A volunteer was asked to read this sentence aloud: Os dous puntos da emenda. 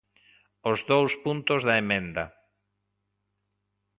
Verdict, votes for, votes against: accepted, 2, 0